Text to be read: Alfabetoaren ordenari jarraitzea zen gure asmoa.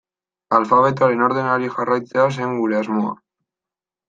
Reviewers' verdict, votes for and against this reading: accepted, 2, 0